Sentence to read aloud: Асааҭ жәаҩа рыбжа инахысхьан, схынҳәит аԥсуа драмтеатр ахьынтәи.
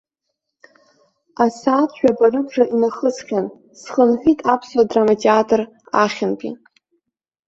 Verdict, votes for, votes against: rejected, 0, 2